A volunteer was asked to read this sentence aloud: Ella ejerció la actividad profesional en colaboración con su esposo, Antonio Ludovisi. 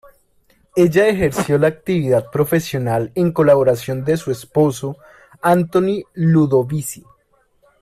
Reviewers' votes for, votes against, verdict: 0, 2, rejected